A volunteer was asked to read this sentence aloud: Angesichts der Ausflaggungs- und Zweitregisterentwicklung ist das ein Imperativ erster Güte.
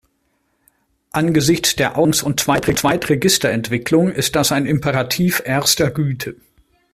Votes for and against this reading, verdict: 0, 2, rejected